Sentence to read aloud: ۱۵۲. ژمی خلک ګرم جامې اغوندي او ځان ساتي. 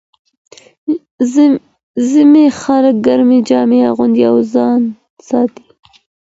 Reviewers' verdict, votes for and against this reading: rejected, 0, 2